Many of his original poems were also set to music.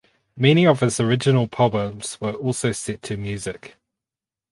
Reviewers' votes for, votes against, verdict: 0, 2, rejected